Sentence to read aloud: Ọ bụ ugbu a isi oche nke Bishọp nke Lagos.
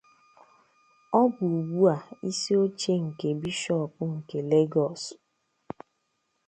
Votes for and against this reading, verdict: 2, 0, accepted